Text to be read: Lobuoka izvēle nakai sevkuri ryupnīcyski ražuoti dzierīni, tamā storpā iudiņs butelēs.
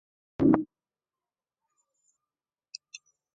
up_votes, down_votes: 0, 2